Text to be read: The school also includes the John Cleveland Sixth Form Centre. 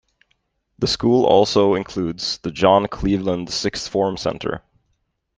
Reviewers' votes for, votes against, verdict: 2, 0, accepted